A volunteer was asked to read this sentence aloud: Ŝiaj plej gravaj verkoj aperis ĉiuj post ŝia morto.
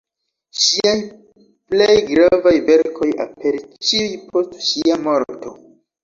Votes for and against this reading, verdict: 0, 3, rejected